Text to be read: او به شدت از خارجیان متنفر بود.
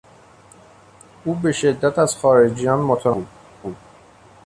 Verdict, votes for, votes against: rejected, 0, 2